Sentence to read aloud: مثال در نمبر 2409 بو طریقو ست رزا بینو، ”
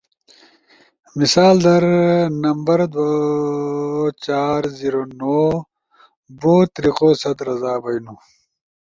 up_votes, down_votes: 0, 2